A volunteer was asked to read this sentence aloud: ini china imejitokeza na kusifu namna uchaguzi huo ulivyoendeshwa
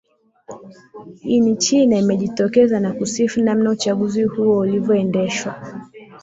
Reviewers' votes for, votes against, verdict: 1, 2, rejected